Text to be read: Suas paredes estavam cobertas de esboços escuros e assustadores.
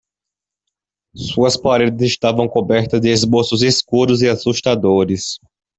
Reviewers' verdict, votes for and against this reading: rejected, 1, 2